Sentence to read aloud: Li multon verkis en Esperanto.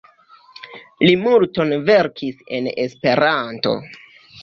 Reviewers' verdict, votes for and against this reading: rejected, 1, 2